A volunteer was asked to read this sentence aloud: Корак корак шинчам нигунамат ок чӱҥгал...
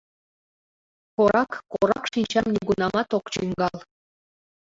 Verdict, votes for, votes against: accepted, 2, 1